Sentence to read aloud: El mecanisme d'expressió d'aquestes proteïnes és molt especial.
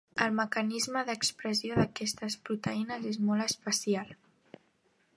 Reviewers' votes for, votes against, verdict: 3, 0, accepted